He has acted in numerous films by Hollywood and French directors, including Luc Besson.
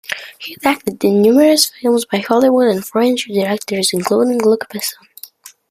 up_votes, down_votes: 2, 1